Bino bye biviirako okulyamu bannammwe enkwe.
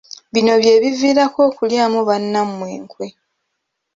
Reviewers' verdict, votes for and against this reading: accepted, 2, 0